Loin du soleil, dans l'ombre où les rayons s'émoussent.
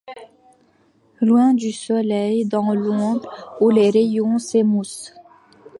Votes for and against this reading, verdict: 2, 0, accepted